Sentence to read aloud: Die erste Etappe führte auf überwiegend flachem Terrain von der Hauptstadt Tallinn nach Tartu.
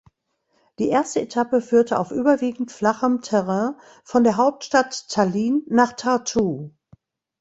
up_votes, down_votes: 1, 2